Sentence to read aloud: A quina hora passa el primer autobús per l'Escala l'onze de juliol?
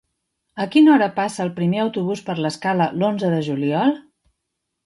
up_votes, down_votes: 3, 0